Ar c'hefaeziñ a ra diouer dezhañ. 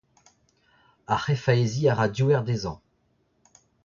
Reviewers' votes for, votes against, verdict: 0, 2, rejected